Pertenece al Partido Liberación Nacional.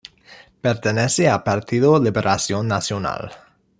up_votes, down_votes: 2, 0